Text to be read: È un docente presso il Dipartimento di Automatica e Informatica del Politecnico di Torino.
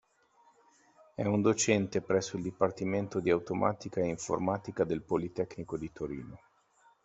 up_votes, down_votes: 2, 0